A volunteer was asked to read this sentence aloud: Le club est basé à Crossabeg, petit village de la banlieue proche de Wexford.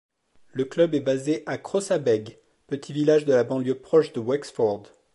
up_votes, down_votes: 2, 0